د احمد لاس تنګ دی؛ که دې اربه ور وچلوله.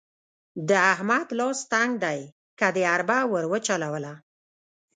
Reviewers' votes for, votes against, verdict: 0, 2, rejected